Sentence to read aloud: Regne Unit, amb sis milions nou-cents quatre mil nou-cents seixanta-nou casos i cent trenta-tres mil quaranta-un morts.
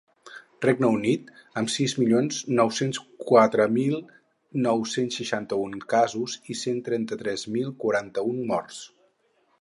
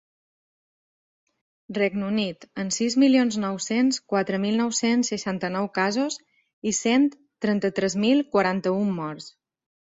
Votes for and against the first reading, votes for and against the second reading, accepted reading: 0, 4, 2, 0, second